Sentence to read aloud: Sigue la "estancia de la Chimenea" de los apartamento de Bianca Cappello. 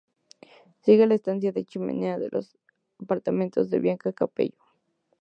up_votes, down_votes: 2, 0